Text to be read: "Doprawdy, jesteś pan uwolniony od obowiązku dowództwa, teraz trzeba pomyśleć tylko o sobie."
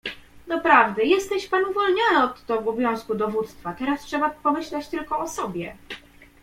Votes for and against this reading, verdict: 2, 0, accepted